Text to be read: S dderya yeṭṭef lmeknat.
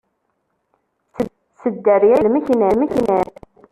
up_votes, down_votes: 0, 2